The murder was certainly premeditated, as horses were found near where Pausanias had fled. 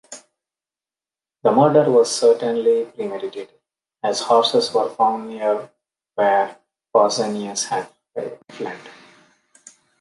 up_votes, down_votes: 0, 2